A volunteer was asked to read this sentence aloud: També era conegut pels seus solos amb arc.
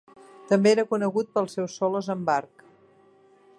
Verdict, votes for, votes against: accepted, 3, 0